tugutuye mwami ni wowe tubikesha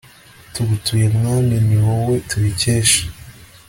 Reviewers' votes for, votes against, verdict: 2, 0, accepted